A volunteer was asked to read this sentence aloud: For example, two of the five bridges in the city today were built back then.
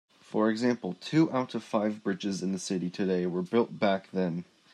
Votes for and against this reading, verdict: 0, 3, rejected